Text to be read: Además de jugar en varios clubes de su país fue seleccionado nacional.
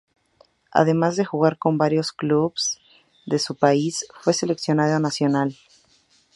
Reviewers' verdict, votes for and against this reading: rejected, 0, 2